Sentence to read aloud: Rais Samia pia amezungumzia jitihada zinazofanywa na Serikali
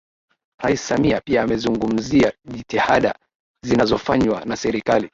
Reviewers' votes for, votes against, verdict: 2, 3, rejected